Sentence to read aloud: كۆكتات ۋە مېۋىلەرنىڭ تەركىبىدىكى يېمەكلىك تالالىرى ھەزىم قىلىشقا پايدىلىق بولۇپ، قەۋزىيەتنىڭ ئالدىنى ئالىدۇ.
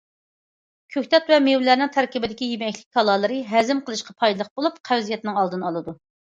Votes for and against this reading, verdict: 2, 0, accepted